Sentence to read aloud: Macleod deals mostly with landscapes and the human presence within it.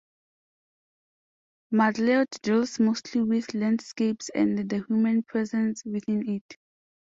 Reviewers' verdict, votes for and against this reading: accepted, 2, 0